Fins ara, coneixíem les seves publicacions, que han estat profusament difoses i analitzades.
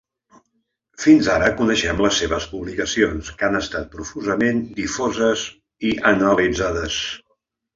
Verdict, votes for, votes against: rejected, 1, 3